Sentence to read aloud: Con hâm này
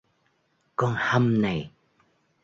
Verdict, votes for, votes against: accepted, 2, 0